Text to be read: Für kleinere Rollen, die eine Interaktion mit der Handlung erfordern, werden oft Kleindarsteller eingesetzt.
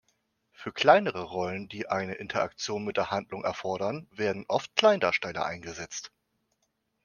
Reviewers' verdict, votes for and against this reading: accepted, 2, 0